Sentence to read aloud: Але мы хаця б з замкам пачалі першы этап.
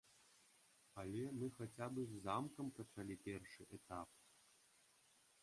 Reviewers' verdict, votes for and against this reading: rejected, 0, 2